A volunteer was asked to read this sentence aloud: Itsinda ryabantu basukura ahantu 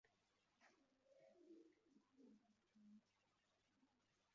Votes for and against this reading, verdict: 0, 2, rejected